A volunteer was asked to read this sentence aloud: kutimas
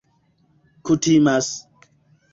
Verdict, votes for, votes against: accepted, 2, 0